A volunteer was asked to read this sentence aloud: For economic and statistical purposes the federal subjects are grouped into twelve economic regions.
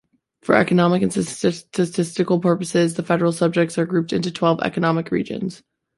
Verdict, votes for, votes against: accepted, 2, 1